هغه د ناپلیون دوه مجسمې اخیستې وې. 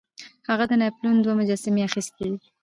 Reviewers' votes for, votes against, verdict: 2, 1, accepted